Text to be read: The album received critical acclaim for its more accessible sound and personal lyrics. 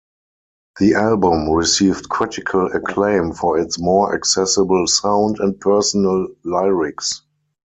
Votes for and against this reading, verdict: 2, 4, rejected